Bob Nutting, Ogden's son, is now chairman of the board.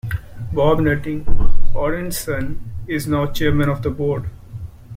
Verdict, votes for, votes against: rejected, 0, 2